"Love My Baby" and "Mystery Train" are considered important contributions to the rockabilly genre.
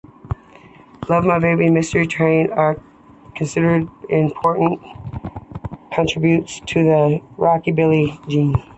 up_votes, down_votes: 2, 1